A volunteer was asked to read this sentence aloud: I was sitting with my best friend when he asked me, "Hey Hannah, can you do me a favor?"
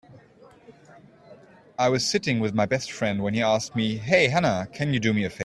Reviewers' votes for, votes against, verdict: 0, 2, rejected